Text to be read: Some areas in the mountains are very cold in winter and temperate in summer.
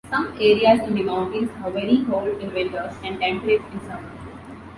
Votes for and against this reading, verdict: 1, 2, rejected